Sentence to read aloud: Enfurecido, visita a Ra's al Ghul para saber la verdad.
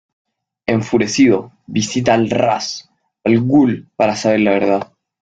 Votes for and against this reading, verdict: 1, 2, rejected